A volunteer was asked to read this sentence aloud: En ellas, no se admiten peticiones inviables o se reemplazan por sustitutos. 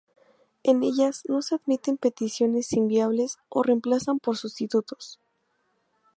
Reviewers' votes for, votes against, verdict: 0, 2, rejected